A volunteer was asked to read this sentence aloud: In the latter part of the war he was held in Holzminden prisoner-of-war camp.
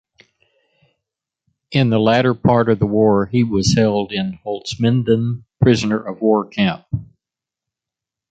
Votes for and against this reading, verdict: 1, 2, rejected